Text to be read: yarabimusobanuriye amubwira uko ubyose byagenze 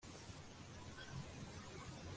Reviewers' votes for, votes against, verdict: 1, 2, rejected